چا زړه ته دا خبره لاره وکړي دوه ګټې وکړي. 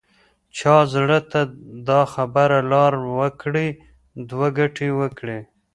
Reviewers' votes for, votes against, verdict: 1, 2, rejected